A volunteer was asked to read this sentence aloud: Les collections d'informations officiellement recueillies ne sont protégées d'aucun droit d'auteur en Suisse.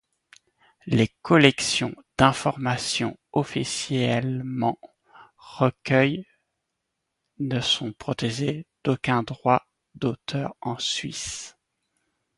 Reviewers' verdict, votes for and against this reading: rejected, 0, 2